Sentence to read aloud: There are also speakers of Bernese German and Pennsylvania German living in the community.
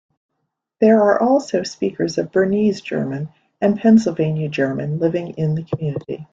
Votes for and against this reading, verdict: 2, 0, accepted